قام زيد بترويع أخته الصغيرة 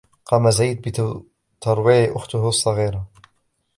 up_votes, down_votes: 0, 2